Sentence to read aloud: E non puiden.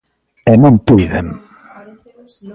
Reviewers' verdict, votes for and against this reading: rejected, 1, 2